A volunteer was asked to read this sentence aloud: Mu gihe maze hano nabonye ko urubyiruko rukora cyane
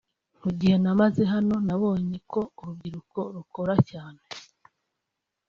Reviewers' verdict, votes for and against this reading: accepted, 2, 1